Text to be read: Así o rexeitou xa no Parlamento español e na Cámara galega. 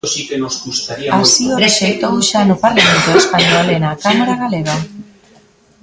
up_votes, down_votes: 0, 2